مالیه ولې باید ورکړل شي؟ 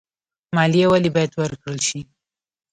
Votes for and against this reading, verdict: 2, 0, accepted